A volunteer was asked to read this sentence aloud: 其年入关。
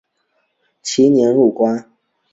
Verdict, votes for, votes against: accepted, 5, 0